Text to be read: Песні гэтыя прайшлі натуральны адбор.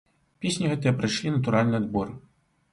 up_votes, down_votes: 2, 0